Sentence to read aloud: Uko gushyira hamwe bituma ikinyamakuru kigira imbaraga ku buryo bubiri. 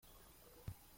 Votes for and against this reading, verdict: 0, 2, rejected